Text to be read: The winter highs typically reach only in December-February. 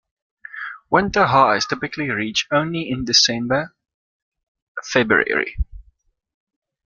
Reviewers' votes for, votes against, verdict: 0, 2, rejected